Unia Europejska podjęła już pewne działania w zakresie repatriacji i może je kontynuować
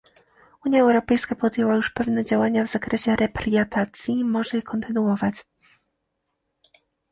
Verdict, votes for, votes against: rejected, 0, 2